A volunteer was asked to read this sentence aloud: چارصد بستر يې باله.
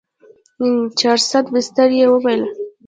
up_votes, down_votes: 0, 2